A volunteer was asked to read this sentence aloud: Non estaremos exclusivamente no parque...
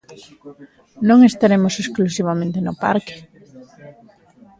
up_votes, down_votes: 1, 2